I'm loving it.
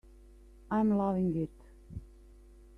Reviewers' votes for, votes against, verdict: 2, 0, accepted